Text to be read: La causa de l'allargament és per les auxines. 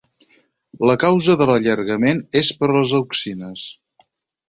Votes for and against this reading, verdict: 4, 0, accepted